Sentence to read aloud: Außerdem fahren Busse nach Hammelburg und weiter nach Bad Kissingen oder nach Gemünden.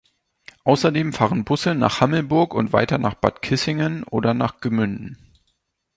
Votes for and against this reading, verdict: 2, 1, accepted